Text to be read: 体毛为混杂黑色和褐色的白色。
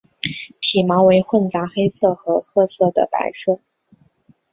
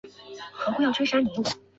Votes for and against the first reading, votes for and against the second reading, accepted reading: 3, 0, 1, 6, first